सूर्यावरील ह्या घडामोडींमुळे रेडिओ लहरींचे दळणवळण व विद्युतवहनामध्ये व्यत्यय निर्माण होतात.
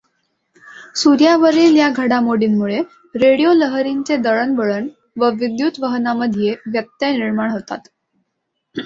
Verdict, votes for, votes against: accepted, 2, 0